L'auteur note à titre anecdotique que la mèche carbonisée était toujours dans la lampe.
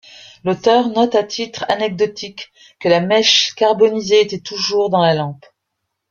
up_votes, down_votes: 2, 0